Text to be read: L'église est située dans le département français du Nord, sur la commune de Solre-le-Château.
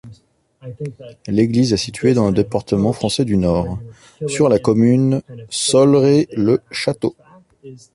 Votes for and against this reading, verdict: 0, 2, rejected